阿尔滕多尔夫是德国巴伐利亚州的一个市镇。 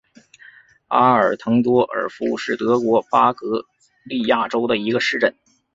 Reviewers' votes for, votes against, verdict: 3, 0, accepted